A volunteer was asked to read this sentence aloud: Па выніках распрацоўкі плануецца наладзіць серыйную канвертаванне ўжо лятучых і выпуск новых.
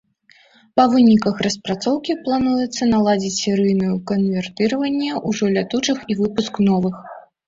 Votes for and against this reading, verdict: 0, 2, rejected